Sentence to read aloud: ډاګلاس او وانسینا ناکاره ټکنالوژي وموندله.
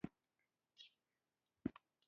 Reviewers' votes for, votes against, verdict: 2, 3, rejected